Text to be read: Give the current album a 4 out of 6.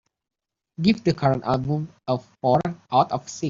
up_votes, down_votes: 0, 2